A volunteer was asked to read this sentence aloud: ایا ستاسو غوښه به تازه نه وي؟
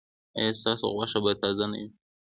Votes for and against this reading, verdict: 2, 0, accepted